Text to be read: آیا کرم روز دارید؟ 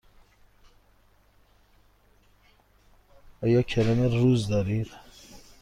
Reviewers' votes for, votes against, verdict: 2, 0, accepted